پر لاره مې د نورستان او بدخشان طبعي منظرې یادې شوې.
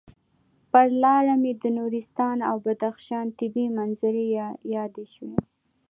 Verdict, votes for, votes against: accepted, 2, 0